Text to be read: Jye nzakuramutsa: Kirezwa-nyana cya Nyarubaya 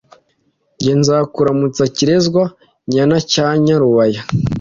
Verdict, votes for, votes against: accepted, 2, 0